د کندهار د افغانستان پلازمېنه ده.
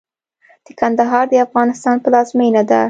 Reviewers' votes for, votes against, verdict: 2, 0, accepted